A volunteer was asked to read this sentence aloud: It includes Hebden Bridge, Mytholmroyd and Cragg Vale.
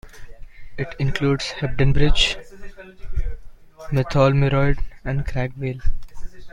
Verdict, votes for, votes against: accepted, 2, 0